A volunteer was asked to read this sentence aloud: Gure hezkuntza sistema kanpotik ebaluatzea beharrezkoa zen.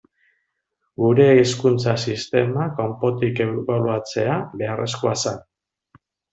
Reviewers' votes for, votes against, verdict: 1, 2, rejected